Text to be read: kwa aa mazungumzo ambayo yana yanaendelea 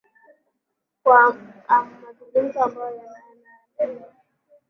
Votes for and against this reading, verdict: 1, 2, rejected